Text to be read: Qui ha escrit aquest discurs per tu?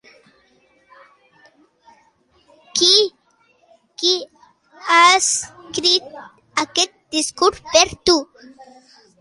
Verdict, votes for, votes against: rejected, 0, 2